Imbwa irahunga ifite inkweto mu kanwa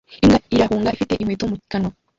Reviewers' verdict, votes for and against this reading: rejected, 1, 2